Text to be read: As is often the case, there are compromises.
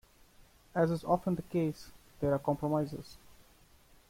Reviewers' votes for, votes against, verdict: 1, 2, rejected